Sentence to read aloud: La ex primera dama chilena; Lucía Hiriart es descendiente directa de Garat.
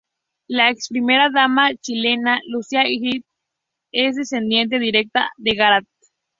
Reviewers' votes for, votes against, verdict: 2, 2, rejected